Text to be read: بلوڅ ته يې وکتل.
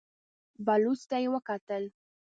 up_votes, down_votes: 2, 0